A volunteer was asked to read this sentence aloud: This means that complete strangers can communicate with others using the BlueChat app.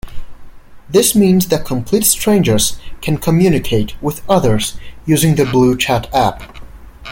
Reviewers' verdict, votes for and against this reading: accepted, 2, 0